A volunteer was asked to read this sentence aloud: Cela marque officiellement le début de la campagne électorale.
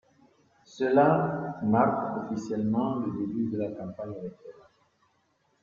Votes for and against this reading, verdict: 1, 2, rejected